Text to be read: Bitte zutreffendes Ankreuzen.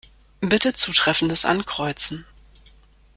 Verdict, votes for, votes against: accepted, 2, 0